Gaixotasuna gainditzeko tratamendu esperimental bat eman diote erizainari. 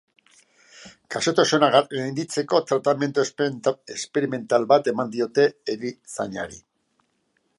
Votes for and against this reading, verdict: 0, 2, rejected